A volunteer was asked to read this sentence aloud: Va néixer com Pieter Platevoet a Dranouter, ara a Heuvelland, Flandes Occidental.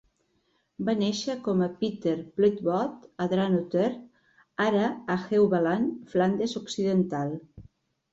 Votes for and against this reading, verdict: 0, 2, rejected